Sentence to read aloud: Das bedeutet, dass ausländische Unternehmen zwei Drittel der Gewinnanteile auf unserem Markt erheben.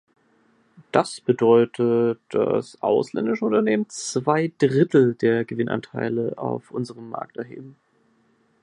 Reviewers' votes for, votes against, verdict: 2, 0, accepted